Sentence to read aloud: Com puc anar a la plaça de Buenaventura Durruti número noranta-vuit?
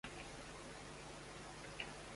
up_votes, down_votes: 0, 2